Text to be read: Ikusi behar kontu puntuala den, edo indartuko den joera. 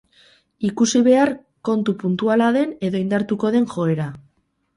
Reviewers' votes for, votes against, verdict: 2, 2, rejected